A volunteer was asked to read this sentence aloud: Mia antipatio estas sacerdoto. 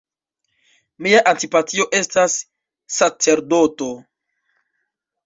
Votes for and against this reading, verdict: 2, 1, accepted